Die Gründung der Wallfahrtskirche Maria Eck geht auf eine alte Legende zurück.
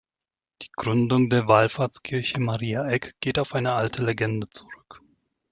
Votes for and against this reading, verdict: 2, 0, accepted